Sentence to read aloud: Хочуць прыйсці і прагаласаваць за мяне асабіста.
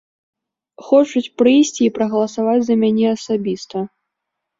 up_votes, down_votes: 0, 2